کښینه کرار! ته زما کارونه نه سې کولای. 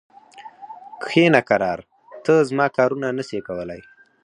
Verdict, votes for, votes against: rejected, 2, 4